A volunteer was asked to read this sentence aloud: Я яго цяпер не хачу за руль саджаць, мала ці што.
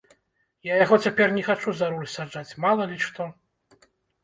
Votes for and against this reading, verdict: 0, 2, rejected